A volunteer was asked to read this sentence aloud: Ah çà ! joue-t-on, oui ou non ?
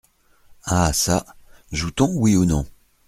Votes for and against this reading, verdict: 2, 0, accepted